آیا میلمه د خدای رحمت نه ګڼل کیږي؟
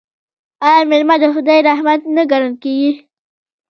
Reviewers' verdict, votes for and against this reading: accepted, 2, 0